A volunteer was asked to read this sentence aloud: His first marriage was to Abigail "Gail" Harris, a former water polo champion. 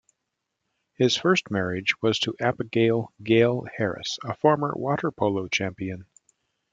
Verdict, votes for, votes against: rejected, 1, 2